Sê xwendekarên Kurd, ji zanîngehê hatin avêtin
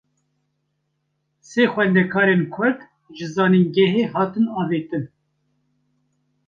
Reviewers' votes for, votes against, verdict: 2, 0, accepted